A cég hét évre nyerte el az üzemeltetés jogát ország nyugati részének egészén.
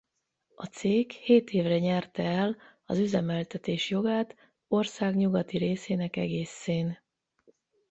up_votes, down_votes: 4, 4